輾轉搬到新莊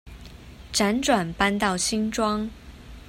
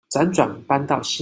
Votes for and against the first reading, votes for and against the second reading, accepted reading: 2, 0, 0, 2, first